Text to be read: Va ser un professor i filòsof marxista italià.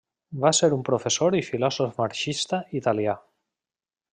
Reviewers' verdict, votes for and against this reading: accepted, 3, 0